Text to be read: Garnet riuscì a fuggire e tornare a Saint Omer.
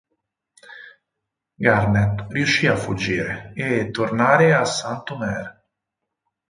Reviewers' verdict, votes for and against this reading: rejected, 4, 6